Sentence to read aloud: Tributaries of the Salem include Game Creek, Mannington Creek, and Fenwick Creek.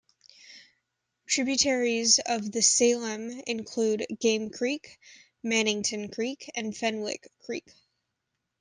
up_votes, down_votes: 2, 0